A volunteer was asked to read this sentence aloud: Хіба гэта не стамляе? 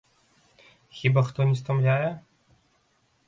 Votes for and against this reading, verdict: 0, 2, rejected